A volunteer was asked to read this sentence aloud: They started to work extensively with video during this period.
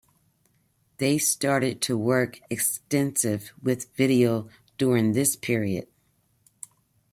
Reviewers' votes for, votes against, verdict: 1, 2, rejected